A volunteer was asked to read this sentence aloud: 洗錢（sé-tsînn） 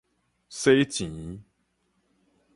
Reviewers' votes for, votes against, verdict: 4, 0, accepted